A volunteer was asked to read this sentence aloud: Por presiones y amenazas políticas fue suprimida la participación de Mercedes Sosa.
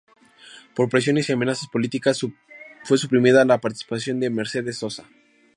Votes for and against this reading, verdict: 0, 2, rejected